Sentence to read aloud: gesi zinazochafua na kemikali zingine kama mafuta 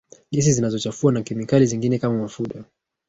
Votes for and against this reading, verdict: 2, 1, accepted